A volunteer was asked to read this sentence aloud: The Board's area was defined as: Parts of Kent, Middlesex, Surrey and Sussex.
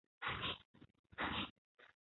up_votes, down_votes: 0, 2